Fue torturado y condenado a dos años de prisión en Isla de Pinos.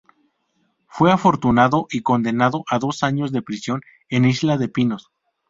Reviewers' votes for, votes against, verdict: 0, 2, rejected